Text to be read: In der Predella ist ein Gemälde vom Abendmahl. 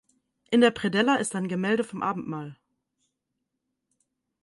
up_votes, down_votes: 4, 0